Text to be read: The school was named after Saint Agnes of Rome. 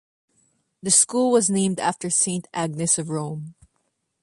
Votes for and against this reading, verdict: 2, 0, accepted